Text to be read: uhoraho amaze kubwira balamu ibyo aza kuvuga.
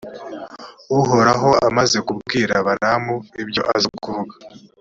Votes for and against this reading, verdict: 2, 1, accepted